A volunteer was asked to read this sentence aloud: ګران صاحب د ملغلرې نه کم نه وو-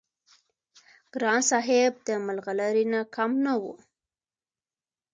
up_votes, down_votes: 2, 0